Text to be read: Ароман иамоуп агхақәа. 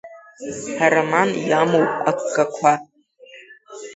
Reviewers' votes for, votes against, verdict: 2, 0, accepted